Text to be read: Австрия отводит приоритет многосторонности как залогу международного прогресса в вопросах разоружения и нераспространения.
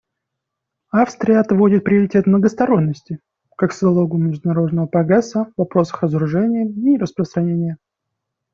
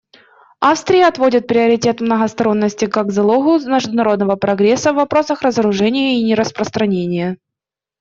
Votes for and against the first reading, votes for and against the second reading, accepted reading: 2, 1, 0, 2, first